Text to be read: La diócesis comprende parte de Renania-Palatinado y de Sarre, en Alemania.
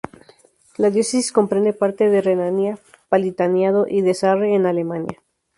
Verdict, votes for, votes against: rejected, 0, 2